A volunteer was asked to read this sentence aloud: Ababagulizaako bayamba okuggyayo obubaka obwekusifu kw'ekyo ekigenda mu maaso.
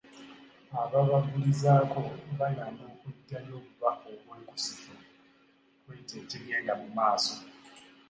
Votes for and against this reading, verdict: 1, 2, rejected